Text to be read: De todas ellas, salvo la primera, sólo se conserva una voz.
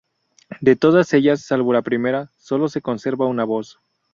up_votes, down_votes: 0, 2